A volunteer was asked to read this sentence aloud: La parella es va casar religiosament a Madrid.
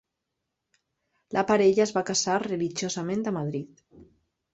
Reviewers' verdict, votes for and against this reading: rejected, 0, 2